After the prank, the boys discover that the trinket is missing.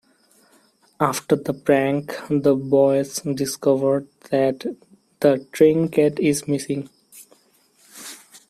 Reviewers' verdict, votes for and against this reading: rejected, 1, 2